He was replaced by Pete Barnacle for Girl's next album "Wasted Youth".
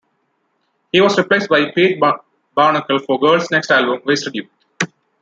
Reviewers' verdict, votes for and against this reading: rejected, 1, 2